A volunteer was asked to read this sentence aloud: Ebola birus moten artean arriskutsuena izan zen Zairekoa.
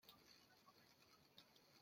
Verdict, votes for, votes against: rejected, 0, 2